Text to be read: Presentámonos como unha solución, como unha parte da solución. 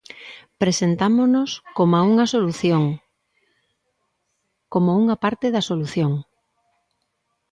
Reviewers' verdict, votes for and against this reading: rejected, 1, 2